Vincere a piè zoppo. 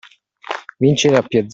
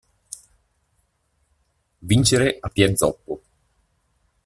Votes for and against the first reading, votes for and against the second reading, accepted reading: 0, 2, 2, 0, second